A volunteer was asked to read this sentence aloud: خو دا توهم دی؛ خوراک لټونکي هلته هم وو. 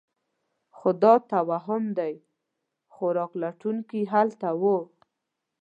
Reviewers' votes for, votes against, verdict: 0, 2, rejected